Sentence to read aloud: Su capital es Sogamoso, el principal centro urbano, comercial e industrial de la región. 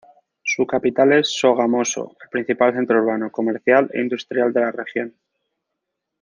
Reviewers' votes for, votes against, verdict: 2, 0, accepted